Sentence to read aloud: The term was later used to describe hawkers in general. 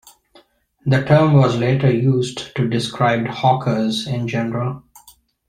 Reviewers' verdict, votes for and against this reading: accepted, 2, 0